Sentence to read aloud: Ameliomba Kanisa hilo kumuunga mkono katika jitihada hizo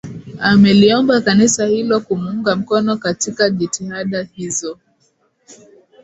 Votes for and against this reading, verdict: 2, 0, accepted